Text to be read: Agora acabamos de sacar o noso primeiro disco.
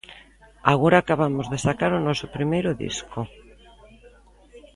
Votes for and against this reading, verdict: 2, 0, accepted